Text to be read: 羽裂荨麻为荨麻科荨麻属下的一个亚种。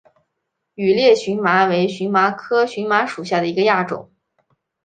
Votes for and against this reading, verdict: 2, 0, accepted